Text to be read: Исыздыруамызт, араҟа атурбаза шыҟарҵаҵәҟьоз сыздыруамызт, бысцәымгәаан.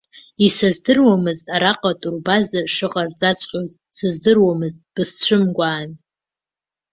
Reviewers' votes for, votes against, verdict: 2, 0, accepted